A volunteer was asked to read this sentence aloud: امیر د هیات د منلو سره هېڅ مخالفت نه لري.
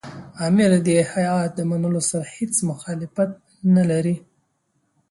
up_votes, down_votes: 2, 0